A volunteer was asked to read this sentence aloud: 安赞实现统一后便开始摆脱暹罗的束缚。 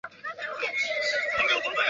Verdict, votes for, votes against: rejected, 0, 2